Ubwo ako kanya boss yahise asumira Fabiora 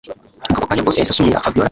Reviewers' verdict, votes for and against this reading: rejected, 1, 2